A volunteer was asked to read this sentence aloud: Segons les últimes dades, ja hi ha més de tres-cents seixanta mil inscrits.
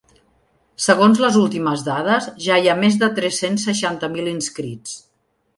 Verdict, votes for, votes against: accepted, 3, 0